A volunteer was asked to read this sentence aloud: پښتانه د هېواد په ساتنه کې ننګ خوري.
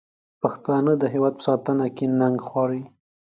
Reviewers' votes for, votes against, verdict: 2, 1, accepted